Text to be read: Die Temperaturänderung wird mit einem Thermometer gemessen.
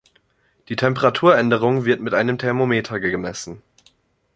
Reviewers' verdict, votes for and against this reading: rejected, 1, 2